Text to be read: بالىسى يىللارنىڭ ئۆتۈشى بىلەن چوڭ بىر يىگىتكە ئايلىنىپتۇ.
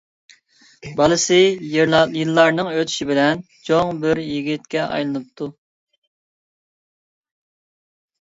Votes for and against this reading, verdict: 0, 2, rejected